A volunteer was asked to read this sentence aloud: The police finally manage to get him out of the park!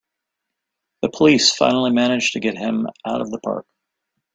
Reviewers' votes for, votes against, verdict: 2, 0, accepted